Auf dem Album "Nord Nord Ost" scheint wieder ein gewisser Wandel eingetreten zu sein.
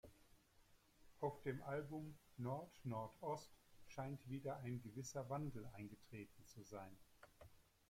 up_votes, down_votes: 2, 0